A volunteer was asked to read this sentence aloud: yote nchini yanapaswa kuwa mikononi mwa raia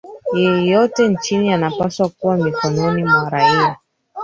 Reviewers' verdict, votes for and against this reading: rejected, 0, 4